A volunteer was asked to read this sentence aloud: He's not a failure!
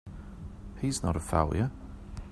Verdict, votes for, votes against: accepted, 2, 0